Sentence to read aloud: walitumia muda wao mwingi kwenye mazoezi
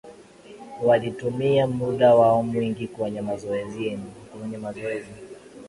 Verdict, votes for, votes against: accepted, 11, 3